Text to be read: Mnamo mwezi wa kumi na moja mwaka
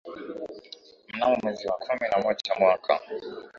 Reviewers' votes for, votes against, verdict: 7, 4, accepted